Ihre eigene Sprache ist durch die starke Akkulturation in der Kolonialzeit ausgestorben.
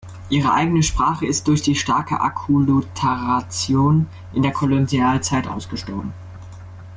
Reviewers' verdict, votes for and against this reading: rejected, 1, 2